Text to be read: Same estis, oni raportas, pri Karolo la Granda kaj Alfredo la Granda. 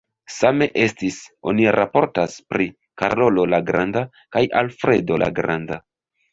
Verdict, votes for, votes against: rejected, 1, 2